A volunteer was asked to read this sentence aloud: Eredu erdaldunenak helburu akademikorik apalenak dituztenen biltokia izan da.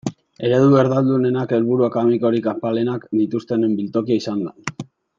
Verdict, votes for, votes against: accepted, 2, 0